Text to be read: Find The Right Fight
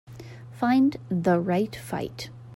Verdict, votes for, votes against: accepted, 2, 1